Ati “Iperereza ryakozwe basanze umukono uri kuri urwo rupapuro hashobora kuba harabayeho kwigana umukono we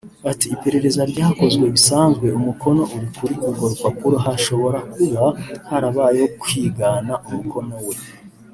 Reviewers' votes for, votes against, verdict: 1, 2, rejected